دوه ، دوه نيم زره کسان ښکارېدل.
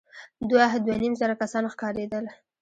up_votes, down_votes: 1, 2